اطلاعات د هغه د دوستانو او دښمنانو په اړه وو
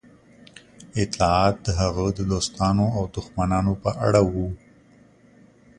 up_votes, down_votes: 2, 0